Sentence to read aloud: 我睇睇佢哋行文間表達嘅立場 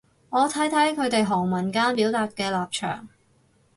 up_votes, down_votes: 4, 0